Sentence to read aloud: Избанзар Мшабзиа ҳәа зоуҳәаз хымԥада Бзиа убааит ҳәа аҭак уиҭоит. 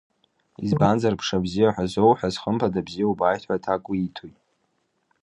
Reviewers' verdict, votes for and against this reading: accepted, 2, 1